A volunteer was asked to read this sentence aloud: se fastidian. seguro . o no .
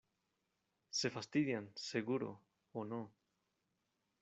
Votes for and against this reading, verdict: 2, 0, accepted